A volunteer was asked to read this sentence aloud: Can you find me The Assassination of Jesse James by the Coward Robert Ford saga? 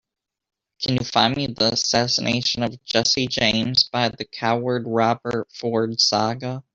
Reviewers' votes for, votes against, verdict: 3, 0, accepted